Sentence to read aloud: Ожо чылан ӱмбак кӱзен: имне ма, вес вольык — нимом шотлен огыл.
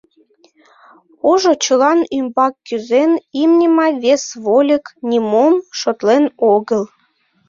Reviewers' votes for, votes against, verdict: 2, 0, accepted